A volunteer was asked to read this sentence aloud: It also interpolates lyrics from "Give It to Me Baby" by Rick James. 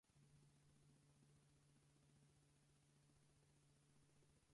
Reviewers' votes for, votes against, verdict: 0, 4, rejected